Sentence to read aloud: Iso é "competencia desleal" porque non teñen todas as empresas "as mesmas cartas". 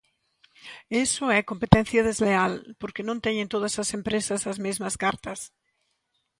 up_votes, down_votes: 2, 1